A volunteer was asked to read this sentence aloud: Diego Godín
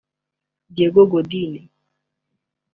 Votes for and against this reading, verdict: 2, 0, accepted